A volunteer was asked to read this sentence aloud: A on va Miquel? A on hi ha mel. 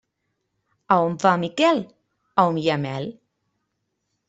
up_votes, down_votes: 2, 0